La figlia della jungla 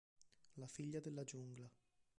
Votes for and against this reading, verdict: 0, 2, rejected